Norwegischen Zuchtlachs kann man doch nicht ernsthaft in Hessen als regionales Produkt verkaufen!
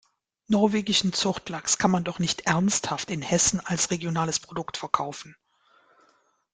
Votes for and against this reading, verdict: 2, 0, accepted